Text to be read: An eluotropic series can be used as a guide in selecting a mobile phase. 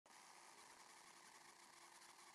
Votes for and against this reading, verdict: 0, 2, rejected